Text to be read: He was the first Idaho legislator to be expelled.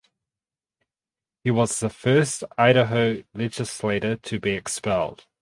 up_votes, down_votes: 2, 2